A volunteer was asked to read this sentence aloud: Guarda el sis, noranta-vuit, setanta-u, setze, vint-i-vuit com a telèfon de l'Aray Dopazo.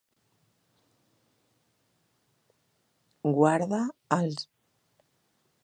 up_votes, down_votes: 0, 2